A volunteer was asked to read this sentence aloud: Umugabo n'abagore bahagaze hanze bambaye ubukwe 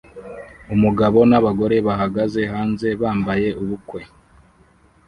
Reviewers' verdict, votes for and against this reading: accepted, 2, 0